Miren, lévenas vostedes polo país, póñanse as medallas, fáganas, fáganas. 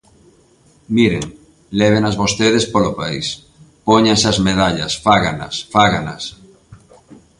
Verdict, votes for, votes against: accepted, 3, 0